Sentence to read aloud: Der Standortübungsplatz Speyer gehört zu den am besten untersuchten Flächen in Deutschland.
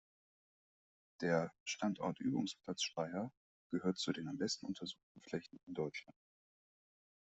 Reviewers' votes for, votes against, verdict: 1, 2, rejected